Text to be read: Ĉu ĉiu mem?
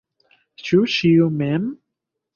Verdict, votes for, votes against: accepted, 2, 0